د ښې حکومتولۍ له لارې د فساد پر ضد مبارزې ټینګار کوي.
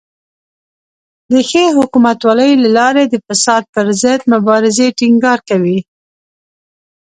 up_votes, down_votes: 2, 1